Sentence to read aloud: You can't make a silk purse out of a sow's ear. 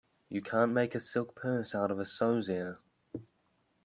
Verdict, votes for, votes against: accepted, 2, 1